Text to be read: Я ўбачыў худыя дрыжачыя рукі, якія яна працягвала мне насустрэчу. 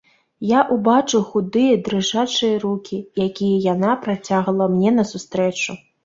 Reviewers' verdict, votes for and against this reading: rejected, 1, 2